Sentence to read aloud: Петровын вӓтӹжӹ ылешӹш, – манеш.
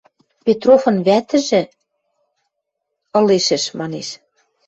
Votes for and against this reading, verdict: 1, 2, rejected